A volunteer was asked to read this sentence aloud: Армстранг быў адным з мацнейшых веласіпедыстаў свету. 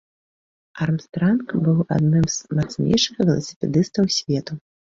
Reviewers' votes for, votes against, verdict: 3, 1, accepted